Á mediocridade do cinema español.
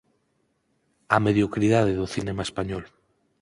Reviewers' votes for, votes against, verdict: 4, 0, accepted